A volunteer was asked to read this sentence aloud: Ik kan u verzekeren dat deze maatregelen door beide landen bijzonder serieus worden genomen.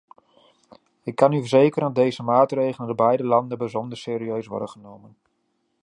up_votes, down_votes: 2, 0